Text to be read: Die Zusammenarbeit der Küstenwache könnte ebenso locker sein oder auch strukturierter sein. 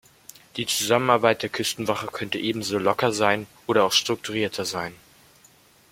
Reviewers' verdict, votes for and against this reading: rejected, 1, 2